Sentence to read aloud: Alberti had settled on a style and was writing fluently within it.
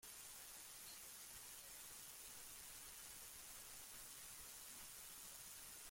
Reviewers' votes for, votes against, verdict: 0, 2, rejected